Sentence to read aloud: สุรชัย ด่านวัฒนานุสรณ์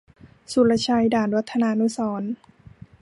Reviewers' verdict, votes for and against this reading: accepted, 3, 0